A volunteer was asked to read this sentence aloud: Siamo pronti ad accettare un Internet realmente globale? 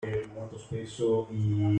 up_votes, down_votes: 0, 2